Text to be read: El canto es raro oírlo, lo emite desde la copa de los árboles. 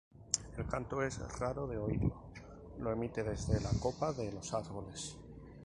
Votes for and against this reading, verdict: 0, 2, rejected